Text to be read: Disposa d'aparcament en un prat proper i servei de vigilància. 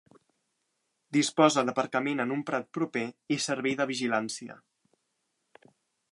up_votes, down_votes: 2, 0